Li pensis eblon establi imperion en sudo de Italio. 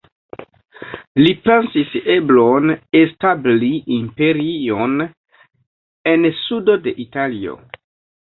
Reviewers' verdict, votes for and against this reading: rejected, 0, 2